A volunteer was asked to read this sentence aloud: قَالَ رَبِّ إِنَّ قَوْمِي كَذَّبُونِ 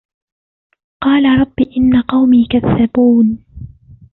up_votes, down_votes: 1, 2